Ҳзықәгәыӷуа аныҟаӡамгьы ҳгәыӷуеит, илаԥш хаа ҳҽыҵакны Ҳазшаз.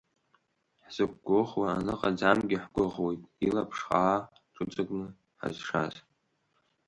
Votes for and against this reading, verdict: 3, 0, accepted